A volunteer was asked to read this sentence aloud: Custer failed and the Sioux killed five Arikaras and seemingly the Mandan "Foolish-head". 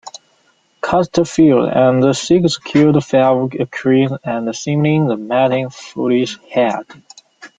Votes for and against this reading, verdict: 0, 2, rejected